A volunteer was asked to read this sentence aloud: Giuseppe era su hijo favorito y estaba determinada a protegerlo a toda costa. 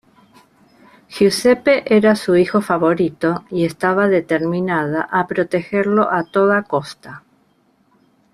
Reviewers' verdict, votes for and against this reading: rejected, 0, 2